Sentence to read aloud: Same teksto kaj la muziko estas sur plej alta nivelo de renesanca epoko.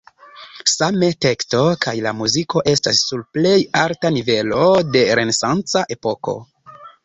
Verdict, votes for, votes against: rejected, 0, 2